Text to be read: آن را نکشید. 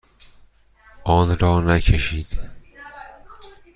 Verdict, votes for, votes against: accepted, 2, 0